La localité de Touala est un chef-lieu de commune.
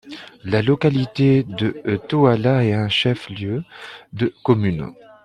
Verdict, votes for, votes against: rejected, 1, 2